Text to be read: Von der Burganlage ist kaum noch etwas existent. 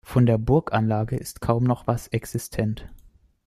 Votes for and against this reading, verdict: 0, 2, rejected